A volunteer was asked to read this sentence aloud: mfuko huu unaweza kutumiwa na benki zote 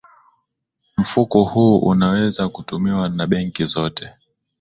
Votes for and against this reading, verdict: 0, 2, rejected